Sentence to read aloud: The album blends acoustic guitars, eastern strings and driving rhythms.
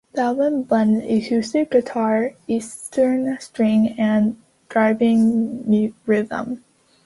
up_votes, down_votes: 1, 2